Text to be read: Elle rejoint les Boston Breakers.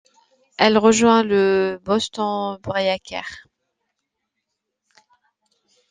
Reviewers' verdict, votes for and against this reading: rejected, 0, 2